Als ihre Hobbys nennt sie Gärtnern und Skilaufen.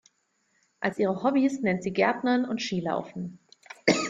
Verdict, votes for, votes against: accepted, 2, 0